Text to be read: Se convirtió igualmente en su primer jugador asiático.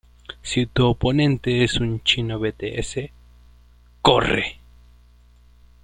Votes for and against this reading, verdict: 0, 2, rejected